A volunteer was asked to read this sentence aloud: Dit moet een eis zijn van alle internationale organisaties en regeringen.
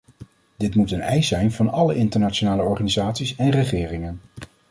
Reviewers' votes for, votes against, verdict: 2, 0, accepted